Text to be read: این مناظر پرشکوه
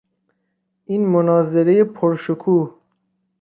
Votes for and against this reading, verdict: 0, 2, rejected